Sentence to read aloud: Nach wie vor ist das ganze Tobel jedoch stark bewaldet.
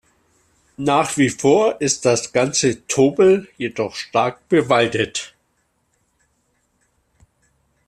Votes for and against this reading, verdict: 2, 0, accepted